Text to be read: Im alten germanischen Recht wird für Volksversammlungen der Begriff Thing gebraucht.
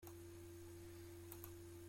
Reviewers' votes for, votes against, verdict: 0, 2, rejected